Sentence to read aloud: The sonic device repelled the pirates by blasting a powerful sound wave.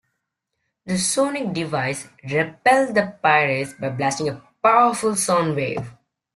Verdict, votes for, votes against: accepted, 2, 0